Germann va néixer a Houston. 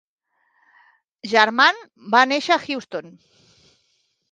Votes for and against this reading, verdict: 3, 0, accepted